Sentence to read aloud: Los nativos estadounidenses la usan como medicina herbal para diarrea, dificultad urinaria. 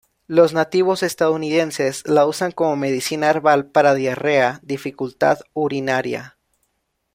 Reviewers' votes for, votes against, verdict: 2, 0, accepted